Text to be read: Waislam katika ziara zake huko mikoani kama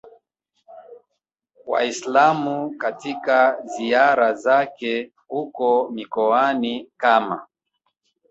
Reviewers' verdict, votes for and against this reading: rejected, 1, 2